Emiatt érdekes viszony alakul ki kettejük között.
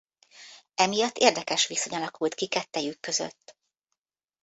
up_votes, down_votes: 1, 2